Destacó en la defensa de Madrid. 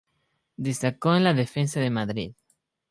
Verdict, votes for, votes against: accepted, 2, 0